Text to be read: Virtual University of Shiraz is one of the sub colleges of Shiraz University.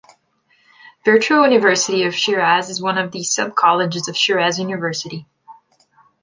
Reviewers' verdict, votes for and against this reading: accepted, 2, 0